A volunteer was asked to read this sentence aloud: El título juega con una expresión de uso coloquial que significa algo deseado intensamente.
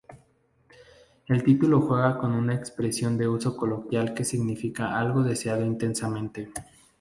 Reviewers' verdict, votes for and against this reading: accepted, 2, 0